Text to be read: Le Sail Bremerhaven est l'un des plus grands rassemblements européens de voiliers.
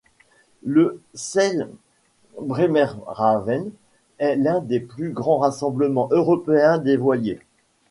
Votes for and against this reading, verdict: 2, 0, accepted